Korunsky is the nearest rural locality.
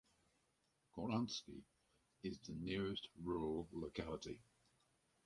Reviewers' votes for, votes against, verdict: 2, 2, rejected